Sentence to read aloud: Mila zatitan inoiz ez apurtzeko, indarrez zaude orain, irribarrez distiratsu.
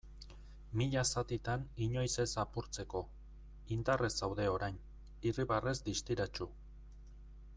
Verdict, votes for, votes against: accepted, 2, 0